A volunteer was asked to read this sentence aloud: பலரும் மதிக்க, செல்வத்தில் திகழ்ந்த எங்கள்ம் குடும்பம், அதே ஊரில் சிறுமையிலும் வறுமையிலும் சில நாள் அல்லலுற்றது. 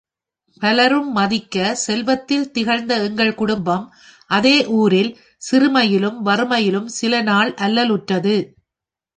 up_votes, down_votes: 4, 2